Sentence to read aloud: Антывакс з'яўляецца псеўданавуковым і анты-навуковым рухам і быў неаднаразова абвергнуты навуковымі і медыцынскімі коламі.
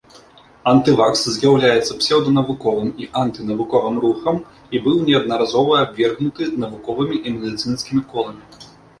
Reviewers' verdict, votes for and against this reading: accepted, 2, 0